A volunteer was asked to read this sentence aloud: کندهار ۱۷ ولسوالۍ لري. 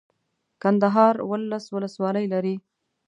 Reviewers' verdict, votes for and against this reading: rejected, 0, 2